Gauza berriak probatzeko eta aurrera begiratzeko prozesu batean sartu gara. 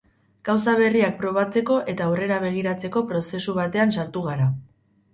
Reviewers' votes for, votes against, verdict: 2, 0, accepted